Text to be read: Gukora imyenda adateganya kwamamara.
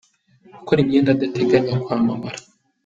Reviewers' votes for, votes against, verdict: 2, 0, accepted